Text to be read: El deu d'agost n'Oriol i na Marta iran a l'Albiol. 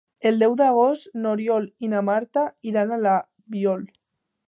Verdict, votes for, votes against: rejected, 0, 2